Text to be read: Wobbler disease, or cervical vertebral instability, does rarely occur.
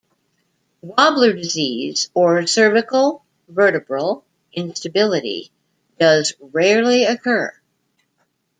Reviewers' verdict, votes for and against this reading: rejected, 0, 2